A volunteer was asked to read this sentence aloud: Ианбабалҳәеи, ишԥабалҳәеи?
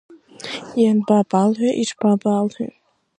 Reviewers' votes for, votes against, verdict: 1, 2, rejected